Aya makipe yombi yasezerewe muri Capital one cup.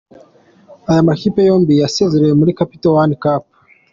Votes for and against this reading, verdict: 2, 1, accepted